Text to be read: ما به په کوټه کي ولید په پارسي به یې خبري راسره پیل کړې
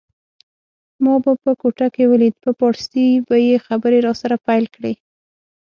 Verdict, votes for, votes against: rejected, 3, 6